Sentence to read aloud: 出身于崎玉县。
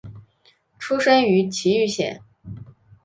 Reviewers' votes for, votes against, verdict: 2, 0, accepted